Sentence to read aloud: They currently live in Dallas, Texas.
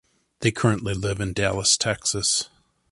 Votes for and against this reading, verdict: 2, 0, accepted